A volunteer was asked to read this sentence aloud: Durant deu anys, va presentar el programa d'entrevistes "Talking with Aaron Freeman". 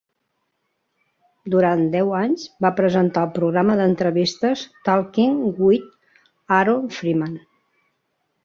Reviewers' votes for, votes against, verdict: 3, 0, accepted